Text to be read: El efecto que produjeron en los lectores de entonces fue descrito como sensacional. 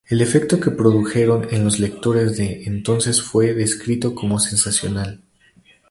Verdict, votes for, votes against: accepted, 4, 0